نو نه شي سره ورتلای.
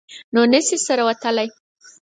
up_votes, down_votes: 8, 0